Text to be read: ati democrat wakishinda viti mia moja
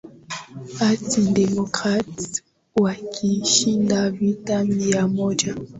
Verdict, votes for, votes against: rejected, 0, 2